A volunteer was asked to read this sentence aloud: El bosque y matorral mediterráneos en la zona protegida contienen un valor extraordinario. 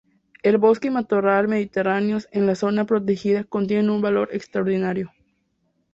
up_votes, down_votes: 0, 2